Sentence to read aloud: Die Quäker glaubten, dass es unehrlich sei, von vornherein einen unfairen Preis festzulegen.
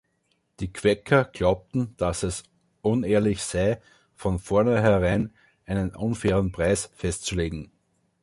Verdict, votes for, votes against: rejected, 1, 2